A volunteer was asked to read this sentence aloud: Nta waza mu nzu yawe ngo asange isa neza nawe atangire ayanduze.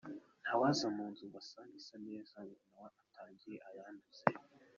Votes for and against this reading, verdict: 0, 2, rejected